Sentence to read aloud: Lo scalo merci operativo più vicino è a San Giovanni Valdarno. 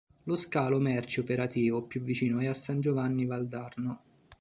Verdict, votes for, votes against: accepted, 2, 0